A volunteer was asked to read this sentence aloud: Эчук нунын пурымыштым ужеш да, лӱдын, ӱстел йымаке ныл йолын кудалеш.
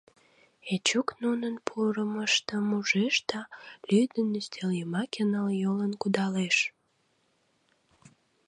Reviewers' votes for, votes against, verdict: 2, 0, accepted